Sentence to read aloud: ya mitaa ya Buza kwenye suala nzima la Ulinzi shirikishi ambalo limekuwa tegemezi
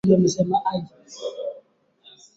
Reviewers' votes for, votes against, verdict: 1, 9, rejected